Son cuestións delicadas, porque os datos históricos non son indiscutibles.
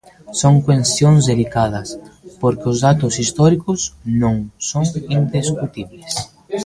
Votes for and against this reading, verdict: 0, 2, rejected